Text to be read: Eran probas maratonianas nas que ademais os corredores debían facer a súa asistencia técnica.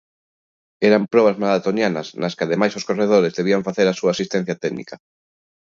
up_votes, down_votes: 2, 0